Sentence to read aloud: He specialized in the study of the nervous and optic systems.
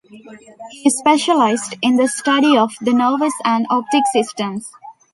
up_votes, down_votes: 2, 0